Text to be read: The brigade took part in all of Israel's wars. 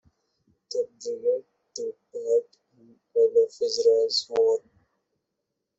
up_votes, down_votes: 0, 2